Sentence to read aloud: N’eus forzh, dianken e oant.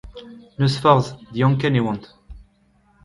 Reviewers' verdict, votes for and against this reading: rejected, 0, 2